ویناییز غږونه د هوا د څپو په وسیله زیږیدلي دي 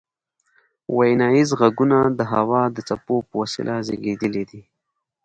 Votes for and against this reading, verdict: 2, 0, accepted